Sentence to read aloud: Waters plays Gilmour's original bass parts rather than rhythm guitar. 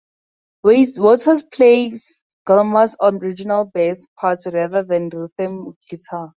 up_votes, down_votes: 0, 4